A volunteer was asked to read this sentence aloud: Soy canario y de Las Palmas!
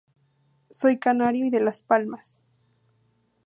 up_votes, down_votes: 0, 2